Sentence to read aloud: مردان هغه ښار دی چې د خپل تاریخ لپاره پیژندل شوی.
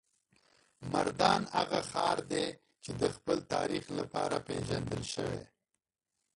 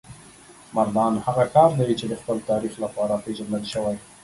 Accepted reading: second